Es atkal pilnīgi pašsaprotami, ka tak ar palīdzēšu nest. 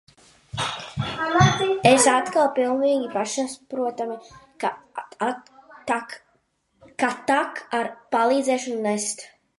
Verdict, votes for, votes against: rejected, 0, 2